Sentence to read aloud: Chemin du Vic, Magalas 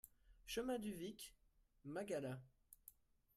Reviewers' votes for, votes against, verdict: 0, 2, rejected